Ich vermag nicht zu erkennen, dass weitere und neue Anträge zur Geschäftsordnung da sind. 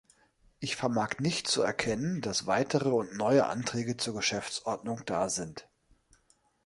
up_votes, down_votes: 3, 0